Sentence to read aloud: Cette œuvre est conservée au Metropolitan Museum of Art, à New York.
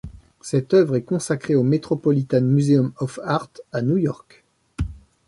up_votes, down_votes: 0, 2